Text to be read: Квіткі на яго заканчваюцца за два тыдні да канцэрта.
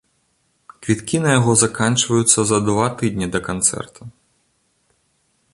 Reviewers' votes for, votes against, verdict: 2, 0, accepted